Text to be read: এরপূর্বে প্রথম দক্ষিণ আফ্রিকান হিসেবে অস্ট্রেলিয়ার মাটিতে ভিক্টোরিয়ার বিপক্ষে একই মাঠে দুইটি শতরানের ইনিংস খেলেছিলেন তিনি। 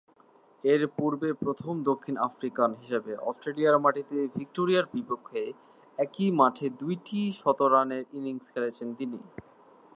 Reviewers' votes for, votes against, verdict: 5, 1, accepted